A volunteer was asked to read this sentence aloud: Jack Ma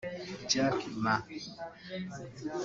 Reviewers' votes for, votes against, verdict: 1, 3, rejected